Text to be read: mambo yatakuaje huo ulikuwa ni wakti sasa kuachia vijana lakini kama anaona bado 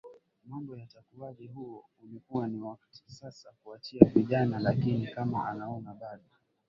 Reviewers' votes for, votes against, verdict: 7, 5, accepted